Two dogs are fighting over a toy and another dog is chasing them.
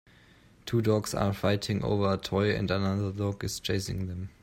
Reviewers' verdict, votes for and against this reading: accepted, 2, 0